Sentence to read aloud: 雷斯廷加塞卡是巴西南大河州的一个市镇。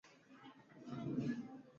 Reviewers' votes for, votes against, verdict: 2, 4, rejected